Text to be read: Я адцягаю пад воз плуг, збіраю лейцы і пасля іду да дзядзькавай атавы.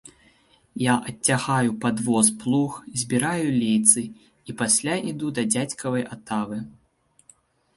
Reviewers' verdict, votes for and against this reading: accepted, 4, 1